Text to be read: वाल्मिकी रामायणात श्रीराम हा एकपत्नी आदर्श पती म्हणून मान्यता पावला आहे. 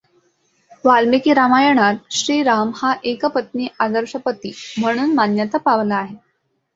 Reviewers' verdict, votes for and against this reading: accepted, 2, 0